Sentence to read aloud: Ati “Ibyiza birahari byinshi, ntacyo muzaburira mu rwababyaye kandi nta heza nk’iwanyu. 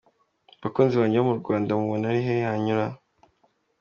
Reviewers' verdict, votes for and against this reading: rejected, 0, 3